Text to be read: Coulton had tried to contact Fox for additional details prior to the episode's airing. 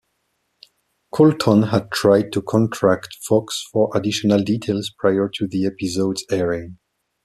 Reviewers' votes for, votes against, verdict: 0, 2, rejected